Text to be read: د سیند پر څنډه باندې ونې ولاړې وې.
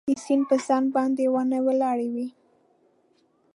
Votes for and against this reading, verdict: 1, 2, rejected